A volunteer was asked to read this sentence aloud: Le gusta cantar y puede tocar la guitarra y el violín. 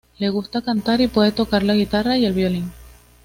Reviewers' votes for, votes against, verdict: 2, 1, accepted